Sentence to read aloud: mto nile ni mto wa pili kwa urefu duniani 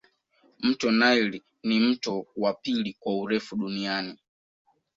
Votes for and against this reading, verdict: 2, 0, accepted